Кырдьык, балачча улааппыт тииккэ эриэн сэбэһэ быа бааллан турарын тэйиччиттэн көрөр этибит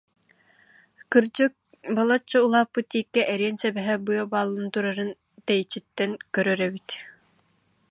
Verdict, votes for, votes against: rejected, 0, 2